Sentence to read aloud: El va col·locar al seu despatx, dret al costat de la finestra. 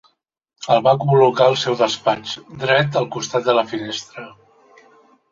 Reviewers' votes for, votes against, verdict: 3, 0, accepted